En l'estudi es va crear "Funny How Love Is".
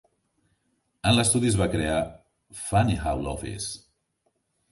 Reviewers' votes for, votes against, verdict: 2, 0, accepted